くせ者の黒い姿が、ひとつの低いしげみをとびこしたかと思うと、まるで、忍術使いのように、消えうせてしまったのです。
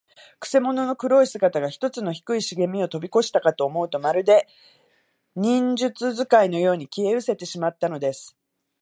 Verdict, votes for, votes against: accepted, 4, 0